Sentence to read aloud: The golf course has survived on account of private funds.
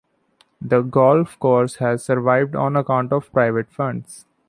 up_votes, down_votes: 2, 1